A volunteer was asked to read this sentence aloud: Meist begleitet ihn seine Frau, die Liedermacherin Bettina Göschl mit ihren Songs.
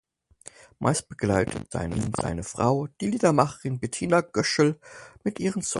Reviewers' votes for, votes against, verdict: 0, 4, rejected